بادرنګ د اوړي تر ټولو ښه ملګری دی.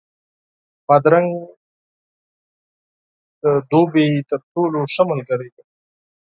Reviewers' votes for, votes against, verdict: 0, 4, rejected